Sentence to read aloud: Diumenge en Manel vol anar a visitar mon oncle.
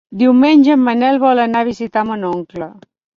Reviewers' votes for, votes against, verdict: 4, 0, accepted